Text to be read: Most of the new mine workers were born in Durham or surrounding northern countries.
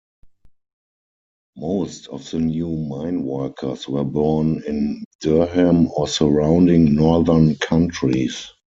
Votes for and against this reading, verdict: 2, 4, rejected